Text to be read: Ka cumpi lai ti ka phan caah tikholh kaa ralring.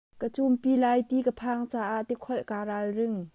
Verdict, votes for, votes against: rejected, 0, 2